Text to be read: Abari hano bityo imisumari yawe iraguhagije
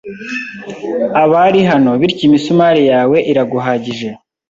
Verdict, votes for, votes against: accepted, 2, 0